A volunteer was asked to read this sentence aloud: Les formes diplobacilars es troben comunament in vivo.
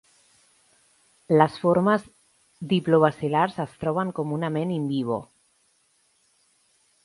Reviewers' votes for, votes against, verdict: 3, 0, accepted